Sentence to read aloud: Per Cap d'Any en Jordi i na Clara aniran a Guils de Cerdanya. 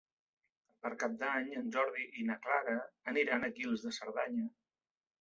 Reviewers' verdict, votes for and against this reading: accepted, 2, 0